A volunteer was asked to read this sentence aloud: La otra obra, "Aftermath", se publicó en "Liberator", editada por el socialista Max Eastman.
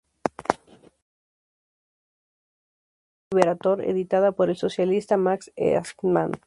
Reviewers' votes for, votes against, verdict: 0, 2, rejected